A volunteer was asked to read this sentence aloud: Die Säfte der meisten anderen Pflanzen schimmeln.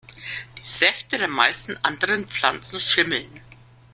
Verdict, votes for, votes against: accepted, 2, 0